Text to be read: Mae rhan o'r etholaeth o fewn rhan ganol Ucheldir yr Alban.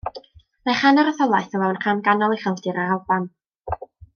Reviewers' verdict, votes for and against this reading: rejected, 1, 2